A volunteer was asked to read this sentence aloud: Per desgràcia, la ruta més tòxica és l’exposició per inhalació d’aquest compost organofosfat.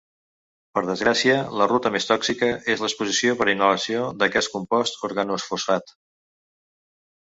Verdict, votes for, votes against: accepted, 2, 1